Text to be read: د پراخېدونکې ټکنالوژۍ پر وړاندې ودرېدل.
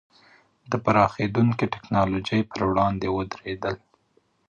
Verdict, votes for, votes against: rejected, 1, 2